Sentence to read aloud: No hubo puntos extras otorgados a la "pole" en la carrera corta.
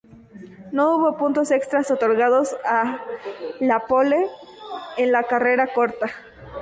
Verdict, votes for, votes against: accepted, 2, 0